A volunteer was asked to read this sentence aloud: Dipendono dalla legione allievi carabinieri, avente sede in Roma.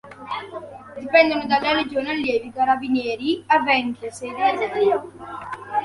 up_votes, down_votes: 2, 3